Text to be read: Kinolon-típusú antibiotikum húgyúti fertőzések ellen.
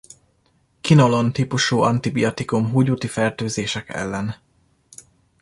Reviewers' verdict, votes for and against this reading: rejected, 0, 2